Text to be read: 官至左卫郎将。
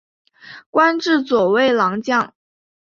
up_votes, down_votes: 6, 0